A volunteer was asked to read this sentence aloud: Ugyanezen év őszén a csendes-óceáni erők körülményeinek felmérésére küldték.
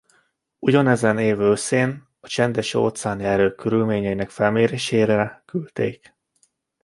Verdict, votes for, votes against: accepted, 2, 0